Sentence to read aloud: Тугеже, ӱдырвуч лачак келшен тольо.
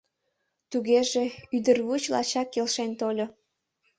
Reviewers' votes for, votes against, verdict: 2, 0, accepted